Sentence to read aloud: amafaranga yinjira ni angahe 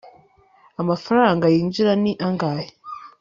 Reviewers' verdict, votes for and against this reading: accepted, 3, 0